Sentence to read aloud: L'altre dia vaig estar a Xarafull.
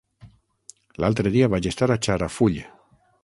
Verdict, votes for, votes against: rejected, 3, 6